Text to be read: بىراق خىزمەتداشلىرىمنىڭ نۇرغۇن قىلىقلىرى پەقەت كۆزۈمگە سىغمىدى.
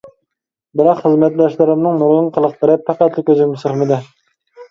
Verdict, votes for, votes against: rejected, 0, 2